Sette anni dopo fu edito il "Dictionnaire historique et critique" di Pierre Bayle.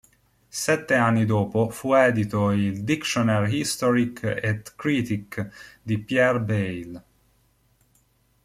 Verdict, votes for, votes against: rejected, 0, 2